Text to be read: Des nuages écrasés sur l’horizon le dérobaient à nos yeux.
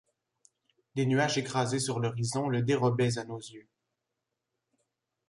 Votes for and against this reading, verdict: 2, 1, accepted